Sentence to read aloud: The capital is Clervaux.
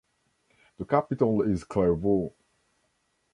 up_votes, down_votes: 2, 0